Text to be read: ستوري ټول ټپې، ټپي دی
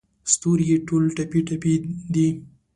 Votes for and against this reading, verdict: 2, 0, accepted